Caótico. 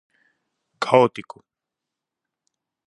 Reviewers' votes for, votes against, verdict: 4, 0, accepted